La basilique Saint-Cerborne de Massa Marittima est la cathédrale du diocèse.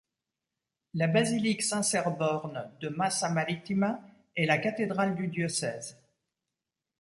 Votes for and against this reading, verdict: 2, 0, accepted